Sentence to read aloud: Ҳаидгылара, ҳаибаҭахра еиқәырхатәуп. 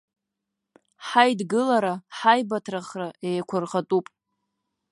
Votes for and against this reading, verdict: 1, 2, rejected